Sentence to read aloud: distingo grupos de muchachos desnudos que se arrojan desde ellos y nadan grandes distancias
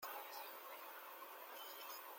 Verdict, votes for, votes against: rejected, 0, 2